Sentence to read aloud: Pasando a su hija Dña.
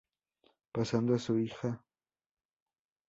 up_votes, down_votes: 0, 2